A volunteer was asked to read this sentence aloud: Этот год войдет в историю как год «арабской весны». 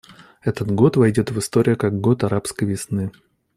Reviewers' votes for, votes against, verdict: 2, 0, accepted